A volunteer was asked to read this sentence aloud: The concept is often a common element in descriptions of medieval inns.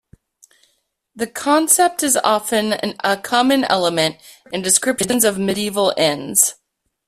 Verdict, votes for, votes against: rejected, 1, 2